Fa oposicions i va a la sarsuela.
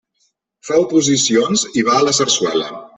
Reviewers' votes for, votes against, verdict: 0, 2, rejected